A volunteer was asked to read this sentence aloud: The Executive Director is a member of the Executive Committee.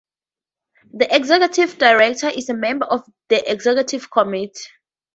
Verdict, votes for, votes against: rejected, 0, 2